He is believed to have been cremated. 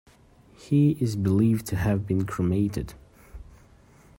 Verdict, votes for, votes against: accepted, 2, 0